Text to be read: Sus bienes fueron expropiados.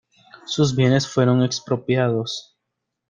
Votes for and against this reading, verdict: 2, 0, accepted